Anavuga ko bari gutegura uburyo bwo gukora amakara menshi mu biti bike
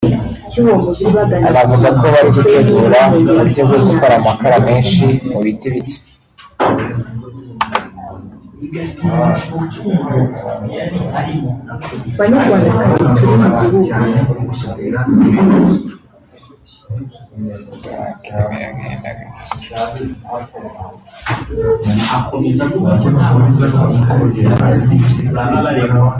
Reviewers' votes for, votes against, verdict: 0, 2, rejected